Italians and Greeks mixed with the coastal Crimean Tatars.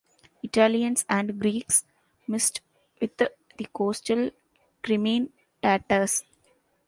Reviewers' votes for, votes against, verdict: 0, 3, rejected